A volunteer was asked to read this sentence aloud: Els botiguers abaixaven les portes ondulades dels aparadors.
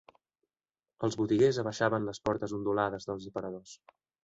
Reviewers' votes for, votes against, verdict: 1, 2, rejected